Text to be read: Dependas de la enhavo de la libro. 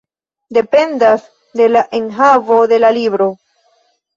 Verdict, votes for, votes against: rejected, 1, 2